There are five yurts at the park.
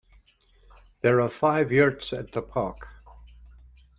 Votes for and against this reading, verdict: 2, 0, accepted